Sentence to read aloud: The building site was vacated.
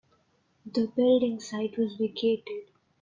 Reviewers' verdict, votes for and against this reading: accepted, 2, 0